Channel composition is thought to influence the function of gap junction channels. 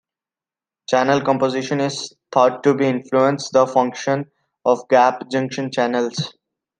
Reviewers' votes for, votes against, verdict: 2, 0, accepted